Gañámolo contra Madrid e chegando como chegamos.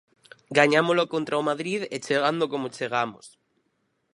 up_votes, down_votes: 0, 4